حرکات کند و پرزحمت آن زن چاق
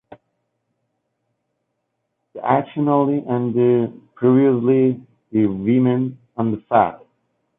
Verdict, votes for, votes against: rejected, 0, 2